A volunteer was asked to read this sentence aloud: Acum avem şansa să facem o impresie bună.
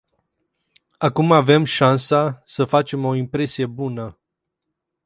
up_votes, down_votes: 4, 0